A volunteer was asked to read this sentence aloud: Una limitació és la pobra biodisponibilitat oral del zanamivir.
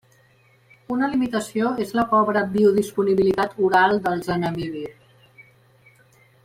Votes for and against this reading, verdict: 1, 2, rejected